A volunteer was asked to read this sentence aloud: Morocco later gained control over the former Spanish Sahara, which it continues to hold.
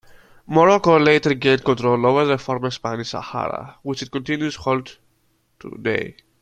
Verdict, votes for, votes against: rejected, 0, 2